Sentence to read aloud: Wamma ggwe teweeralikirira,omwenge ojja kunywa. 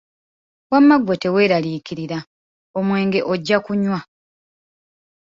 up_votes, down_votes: 2, 0